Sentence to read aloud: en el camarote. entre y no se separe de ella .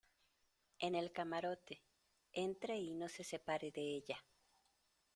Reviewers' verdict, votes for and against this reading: accepted, 2, 0